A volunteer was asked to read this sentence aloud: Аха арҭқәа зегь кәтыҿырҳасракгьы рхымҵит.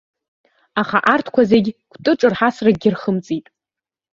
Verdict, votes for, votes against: accepted, 2, 1